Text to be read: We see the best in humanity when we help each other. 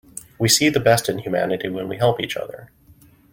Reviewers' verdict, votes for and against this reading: accepted, 2, 0